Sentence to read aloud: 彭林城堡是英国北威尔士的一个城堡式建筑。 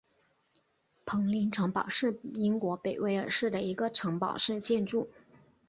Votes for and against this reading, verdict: 2, 0, accepted